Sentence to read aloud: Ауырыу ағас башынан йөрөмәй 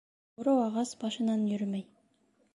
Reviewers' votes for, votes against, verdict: 1, 2, rejected